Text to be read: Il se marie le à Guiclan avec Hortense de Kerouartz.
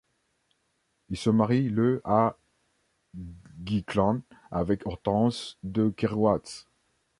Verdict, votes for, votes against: rejected, 0, 2